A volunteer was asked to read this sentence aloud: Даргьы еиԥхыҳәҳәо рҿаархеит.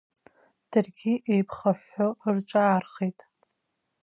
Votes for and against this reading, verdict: 2, 1, accepted